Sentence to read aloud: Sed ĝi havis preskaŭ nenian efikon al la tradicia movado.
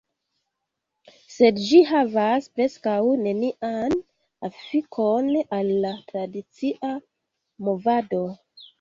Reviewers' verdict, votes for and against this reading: rejected, 1, 2